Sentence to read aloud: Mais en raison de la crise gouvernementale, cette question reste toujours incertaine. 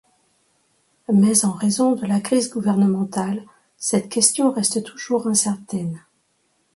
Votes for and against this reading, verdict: 2, 1, accepted